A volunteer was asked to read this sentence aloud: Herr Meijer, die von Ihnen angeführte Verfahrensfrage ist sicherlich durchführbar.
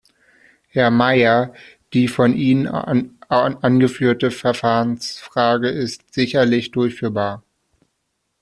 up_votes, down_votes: 0, 2